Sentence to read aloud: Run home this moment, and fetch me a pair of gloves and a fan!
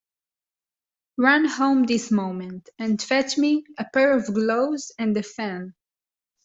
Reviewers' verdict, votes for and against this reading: rejected, 1, 2